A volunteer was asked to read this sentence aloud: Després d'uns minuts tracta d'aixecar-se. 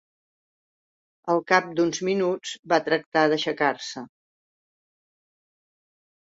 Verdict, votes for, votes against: rejected, 0, 2